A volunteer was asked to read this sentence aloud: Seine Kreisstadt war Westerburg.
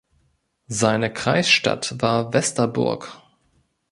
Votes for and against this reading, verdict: 3, 0, accepted